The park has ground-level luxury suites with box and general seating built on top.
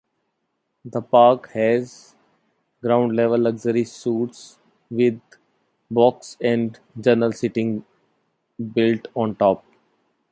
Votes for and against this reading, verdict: 1, 2, rejected